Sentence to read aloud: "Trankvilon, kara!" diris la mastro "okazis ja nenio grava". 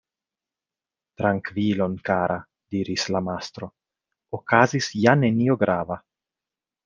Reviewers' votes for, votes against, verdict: 2, 0, accepted